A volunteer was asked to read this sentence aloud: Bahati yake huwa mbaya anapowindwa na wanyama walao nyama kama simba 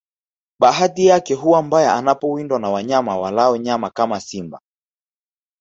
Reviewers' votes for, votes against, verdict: 5, 0, accepted